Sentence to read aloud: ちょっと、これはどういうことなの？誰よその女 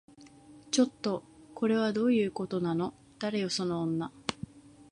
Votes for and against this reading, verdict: 2, 0, accepted